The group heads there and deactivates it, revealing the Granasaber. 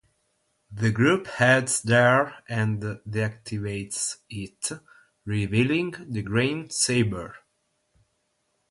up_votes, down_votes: 3, 6